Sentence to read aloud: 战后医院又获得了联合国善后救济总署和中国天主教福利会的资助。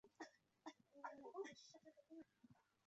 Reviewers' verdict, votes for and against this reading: rejected, 0, 3